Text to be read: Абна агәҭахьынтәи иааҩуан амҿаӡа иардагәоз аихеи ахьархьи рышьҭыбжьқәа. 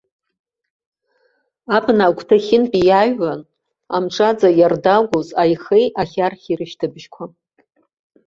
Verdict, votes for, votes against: accepted, 2, 0